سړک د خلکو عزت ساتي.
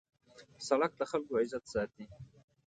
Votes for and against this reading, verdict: 2, 0, accepted